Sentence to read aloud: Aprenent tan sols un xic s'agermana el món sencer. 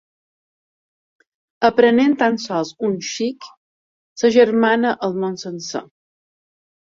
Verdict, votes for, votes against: accepted, 3, 0